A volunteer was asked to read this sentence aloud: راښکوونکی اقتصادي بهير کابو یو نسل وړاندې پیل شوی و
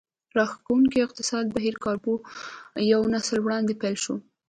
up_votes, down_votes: 2, 1